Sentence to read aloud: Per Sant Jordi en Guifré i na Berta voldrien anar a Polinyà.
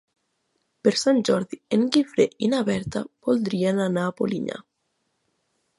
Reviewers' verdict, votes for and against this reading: accepted, 3, 0